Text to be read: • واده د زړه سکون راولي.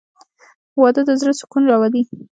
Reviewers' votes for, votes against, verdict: 2, 0, accepted